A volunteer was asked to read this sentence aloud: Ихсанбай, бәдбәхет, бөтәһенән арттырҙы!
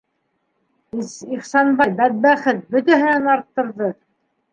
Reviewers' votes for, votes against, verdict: 0, 2, rejected